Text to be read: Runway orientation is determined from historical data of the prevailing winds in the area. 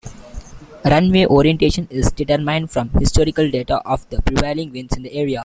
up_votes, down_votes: 2, 0